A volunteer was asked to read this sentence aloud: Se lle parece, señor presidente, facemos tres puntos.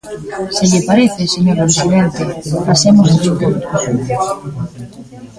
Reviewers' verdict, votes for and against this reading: rejected, 0, 2